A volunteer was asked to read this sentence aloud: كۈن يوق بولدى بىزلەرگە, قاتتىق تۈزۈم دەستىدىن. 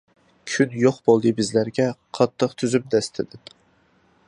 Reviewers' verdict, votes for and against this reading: accepted, 2, 0